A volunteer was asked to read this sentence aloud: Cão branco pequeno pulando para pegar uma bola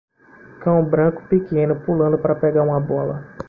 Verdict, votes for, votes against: rejected, 1, 2